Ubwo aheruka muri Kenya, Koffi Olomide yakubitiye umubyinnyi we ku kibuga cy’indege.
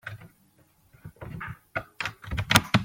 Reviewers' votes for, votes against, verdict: 0, 2, rejected